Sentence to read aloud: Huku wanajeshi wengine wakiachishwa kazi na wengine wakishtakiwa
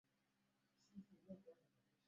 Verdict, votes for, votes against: rejected, 0, 2